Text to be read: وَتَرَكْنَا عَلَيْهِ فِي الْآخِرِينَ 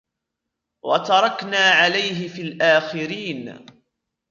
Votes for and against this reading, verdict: 1, 2, rejected